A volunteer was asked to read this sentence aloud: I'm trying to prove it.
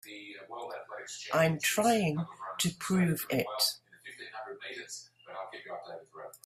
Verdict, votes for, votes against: accepted, 2, 0